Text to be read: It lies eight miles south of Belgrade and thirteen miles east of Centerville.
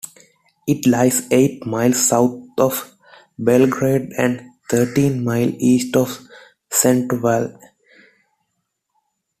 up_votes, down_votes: 2, 1